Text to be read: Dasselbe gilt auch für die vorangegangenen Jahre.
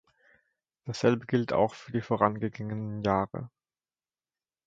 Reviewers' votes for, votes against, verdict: 0, 2, rejected